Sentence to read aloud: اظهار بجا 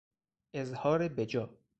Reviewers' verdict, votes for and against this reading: rejected, 0, 2